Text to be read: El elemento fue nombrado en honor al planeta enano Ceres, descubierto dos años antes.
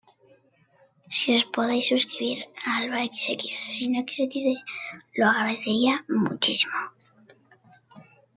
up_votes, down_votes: 1, 2